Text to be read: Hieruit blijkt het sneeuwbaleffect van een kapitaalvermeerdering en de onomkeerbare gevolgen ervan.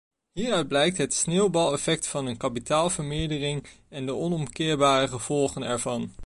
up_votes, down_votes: 2, 0